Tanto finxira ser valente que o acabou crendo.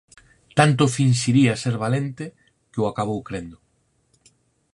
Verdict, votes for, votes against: rejected, 2, 4